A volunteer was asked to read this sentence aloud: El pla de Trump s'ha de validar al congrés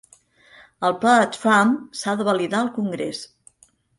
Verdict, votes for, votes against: accepted, 2, 0